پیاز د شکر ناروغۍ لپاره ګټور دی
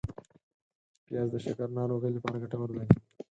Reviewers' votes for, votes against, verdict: 4, 0, accepted